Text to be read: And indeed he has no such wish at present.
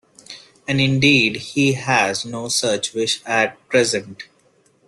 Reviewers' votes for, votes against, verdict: 2, 0, accepted